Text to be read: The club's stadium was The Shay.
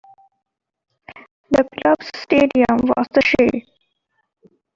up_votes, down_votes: 2, 1